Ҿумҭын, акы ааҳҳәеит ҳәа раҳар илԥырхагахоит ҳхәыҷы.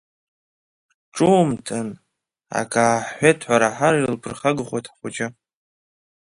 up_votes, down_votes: 1, 2